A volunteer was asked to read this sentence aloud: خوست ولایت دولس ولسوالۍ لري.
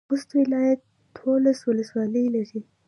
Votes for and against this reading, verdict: 2, 0, accepted